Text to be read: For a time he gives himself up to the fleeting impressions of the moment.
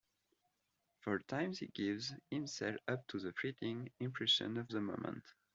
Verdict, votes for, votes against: rejected, 1, 2